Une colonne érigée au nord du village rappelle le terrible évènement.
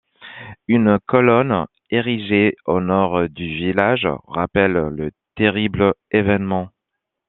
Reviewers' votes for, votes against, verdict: 1, 2, rejected